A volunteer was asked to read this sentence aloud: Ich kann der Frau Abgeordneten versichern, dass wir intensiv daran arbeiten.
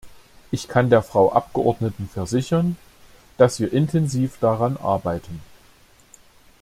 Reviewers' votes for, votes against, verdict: 2, 0, accepted